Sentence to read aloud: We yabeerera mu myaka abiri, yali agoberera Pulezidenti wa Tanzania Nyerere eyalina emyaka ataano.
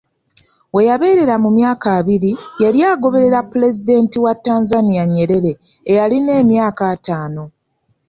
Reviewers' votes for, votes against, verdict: 2, 0, accepted